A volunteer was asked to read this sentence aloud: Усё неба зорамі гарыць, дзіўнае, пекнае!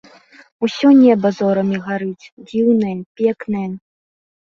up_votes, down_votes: 2, 1